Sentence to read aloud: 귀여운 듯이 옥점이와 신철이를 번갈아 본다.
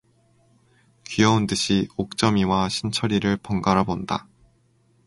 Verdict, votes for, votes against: accepted, 4, 0